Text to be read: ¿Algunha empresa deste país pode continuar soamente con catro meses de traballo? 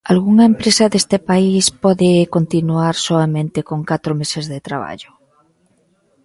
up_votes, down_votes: 2, 0